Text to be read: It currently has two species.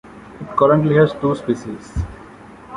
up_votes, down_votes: 0, 2